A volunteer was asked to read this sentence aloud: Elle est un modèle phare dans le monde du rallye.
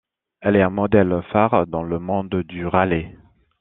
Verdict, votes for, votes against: rejected, 1, 2